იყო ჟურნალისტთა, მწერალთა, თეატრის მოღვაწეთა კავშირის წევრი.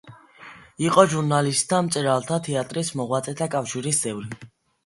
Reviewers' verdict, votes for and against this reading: accepted, 2, 0